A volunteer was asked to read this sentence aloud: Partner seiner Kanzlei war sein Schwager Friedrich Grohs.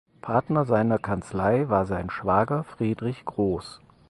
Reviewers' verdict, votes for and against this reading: accepted, 6, 0